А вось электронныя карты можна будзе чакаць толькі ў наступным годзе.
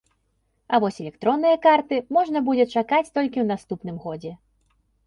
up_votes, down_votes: 2, 0